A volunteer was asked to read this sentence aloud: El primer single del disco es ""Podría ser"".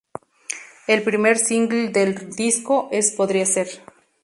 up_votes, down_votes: 2, 0